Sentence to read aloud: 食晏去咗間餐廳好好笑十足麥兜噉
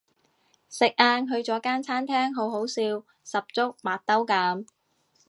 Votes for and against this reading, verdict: 2, 0, accepted